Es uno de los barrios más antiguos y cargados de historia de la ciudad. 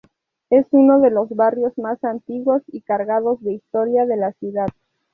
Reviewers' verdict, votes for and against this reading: accepted, 6, 0